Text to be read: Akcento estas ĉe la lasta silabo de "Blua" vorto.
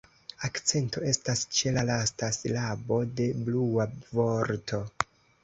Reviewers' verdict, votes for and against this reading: accepted, 2, 0